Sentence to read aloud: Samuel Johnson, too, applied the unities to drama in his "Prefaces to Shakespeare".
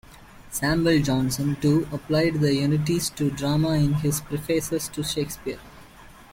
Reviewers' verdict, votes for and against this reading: rejected, 1, 2